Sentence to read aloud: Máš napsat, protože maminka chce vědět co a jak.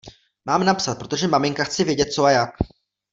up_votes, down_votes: 0, 2